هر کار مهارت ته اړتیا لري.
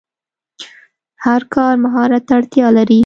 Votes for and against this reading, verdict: 2, 0, accepted